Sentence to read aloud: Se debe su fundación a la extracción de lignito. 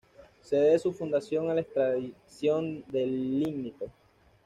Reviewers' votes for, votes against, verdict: 1, 2, rejected